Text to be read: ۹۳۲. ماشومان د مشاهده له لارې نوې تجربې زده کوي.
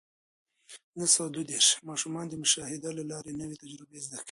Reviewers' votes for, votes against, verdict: 0, 2, rejected